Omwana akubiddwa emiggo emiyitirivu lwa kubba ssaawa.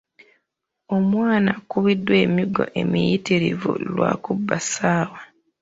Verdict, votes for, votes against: accepted, 2, 1